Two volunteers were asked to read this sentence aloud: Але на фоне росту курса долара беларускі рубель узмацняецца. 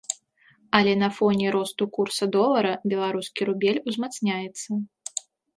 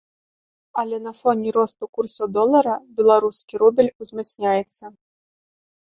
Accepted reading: first